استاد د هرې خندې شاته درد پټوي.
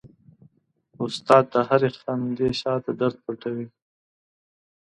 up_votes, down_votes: 2, 0